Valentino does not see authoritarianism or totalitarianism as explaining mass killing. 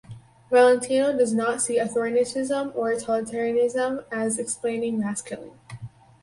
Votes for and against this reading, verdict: 0, 4, rejected